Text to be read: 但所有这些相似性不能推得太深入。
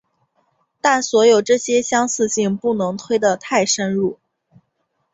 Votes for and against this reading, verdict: 5, 0, accepted